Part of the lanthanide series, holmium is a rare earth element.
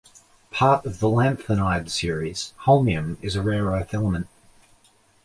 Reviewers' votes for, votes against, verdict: 2, 0, accepted